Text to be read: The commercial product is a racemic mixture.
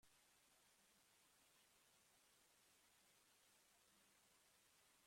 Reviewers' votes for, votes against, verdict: 0, 2, rejected